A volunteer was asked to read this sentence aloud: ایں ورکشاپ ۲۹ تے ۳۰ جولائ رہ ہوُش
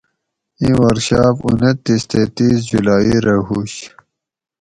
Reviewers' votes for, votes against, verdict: 0, 2, rejected